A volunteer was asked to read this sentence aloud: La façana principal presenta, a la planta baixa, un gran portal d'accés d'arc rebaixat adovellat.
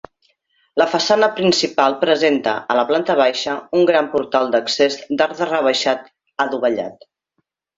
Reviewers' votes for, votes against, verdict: 2, 1, accepted